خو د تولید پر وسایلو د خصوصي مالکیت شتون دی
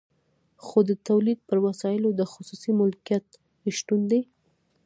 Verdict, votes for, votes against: rejected, 0, 2